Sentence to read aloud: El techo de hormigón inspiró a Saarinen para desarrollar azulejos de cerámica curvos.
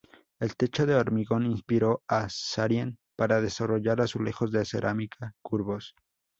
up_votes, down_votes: 2, 2